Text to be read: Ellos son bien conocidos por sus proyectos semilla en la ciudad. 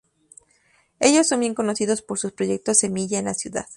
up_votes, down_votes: 2, 0